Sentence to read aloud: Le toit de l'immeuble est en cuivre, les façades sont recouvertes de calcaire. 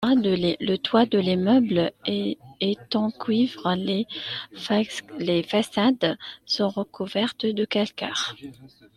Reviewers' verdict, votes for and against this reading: rejected, 0, 2